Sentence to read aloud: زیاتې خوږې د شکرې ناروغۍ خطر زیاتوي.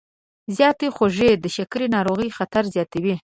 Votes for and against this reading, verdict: 1, 2, rejected